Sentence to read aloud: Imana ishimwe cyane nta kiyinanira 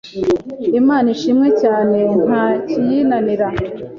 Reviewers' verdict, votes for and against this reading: accepted, 3, 0